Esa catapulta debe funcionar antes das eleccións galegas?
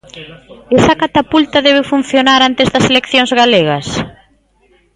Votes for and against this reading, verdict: 2, 0, accepted